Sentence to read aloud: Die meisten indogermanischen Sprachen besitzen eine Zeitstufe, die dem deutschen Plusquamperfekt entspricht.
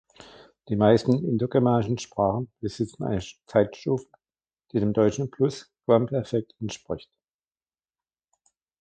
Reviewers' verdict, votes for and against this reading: rejected, 1, 2